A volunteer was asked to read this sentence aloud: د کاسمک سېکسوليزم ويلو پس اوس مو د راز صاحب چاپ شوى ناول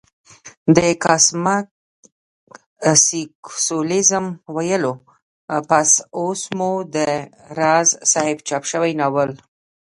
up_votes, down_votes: 1, 2